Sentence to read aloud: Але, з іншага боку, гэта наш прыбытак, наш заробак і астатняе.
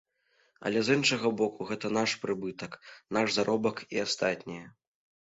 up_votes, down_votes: 2, 0